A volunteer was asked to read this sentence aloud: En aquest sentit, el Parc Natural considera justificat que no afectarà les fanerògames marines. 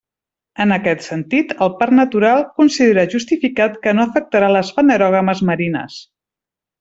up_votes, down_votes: 2, 0